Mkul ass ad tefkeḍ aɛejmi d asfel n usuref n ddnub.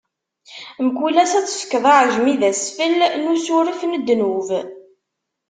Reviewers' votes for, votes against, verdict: 2, 0, accepted